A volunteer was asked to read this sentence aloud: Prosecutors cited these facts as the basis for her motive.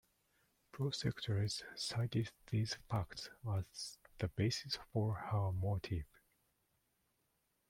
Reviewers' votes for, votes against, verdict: 2, 1, accepted